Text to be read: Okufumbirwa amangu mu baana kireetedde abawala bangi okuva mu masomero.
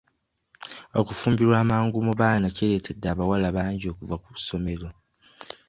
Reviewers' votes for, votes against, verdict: 0, 2, rejected